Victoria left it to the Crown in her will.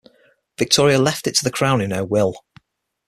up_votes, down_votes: 6, 0